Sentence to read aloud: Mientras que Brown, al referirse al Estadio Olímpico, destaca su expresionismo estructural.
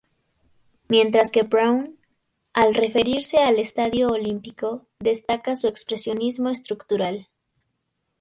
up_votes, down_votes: 2, 0